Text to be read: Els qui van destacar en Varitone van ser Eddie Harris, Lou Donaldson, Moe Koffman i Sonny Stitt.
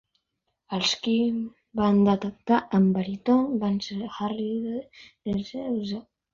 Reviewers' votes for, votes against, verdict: 0, 3, rejected